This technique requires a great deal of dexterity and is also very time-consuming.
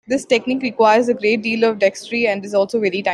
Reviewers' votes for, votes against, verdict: 0, 2, rejected